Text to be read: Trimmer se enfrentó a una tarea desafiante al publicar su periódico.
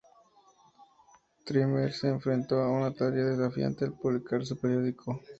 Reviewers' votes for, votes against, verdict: 4, 0, accepted